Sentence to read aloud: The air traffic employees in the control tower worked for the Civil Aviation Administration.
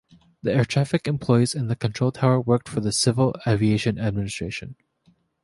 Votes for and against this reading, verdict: 2, 0, accepted